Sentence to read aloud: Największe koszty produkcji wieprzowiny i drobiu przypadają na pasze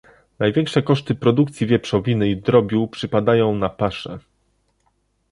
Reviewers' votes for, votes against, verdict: 2, 0, accepted